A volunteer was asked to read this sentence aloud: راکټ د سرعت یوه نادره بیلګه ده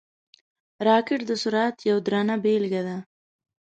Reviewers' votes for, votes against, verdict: 0, 2, rejected